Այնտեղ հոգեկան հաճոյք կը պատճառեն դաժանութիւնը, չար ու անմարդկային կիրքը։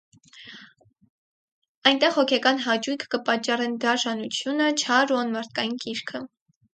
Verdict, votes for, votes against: rejected, 0, 4